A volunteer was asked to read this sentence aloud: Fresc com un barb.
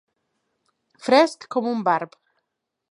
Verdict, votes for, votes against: accepted, 2, 0